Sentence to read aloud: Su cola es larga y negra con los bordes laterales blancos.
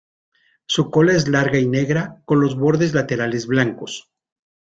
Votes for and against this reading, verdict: 2, 1, accepted